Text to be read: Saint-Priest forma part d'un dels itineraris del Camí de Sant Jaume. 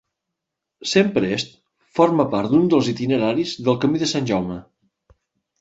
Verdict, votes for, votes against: accepted, 2, 0